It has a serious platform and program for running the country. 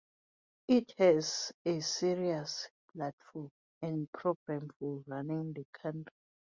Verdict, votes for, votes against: accepted, 2, 0